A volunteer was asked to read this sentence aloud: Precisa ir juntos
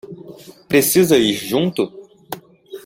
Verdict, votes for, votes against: rejected, 0, 2